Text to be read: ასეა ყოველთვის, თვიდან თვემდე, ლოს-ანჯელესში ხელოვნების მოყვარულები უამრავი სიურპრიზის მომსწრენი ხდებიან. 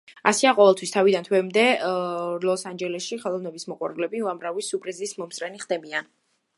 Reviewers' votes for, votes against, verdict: 1, 2, rejected